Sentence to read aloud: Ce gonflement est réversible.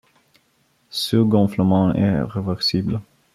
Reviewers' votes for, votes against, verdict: 1, 2, rejected